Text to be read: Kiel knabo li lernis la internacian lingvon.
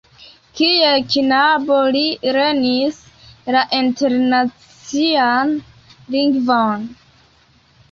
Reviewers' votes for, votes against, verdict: 2, 0, accepted